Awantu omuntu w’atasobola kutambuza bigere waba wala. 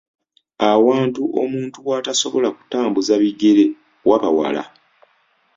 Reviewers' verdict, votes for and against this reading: accepted, 2, 0